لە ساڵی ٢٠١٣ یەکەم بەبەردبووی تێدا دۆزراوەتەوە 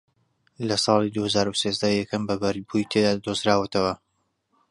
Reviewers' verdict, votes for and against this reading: rejected, 0, 2